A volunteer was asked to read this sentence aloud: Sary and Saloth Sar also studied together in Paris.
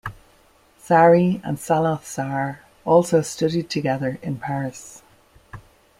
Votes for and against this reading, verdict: 2, 0, accepted